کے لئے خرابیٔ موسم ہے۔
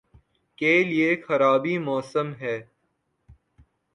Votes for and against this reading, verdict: 2, 0, accepted